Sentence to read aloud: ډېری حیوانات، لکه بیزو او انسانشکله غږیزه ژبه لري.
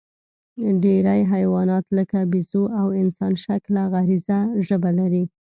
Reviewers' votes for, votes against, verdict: 2, 0, accepted